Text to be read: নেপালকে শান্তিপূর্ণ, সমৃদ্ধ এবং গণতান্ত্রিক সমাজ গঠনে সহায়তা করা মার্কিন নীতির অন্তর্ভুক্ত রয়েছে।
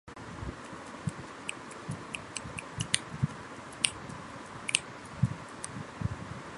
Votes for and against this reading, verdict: 0, 6, rejected